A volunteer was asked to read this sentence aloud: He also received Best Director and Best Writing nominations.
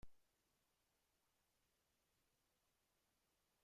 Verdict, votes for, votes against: rejected, 0, 2